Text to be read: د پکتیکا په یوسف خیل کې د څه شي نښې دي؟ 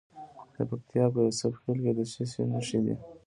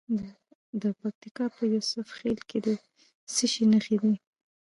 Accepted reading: first